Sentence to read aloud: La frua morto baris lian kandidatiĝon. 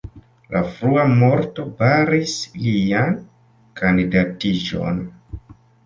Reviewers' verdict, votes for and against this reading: rejected, 1, 2